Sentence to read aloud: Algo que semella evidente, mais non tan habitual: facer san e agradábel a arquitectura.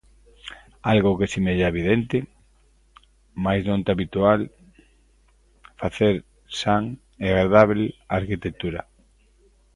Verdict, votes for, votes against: rejected, 0, 2